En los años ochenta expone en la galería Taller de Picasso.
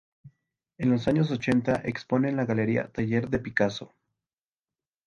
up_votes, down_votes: 2, 0